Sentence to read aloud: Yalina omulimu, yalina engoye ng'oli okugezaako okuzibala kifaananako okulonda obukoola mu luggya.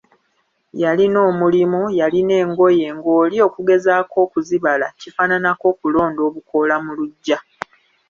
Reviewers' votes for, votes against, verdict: 2, 0, accepted